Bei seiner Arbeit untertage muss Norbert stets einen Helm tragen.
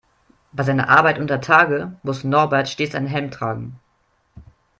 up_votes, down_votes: 2, 1